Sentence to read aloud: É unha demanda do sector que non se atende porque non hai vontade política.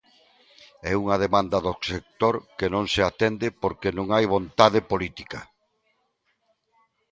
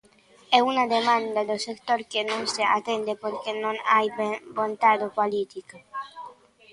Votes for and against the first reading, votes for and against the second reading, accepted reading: 2, 0, 0, 2, first